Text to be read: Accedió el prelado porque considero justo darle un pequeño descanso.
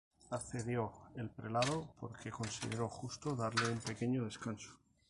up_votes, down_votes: 0, 2